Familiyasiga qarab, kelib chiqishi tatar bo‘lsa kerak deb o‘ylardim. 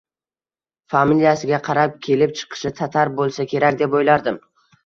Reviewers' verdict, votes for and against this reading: accepted, 2, 0